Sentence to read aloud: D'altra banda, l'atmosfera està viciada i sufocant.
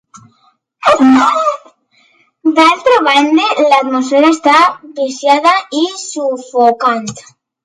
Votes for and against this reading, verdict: 0, 2, rejected